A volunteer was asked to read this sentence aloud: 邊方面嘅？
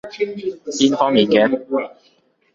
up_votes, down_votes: 1, 3